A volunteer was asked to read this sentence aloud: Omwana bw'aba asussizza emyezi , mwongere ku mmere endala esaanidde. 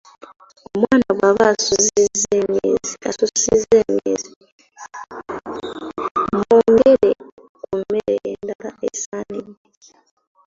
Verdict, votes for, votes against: rejected, 1, 2